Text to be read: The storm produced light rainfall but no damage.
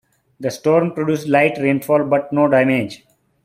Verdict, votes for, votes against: accepted, 2, 1